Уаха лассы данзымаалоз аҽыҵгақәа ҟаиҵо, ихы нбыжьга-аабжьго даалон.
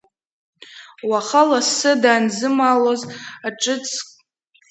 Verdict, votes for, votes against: rejected, 0, 3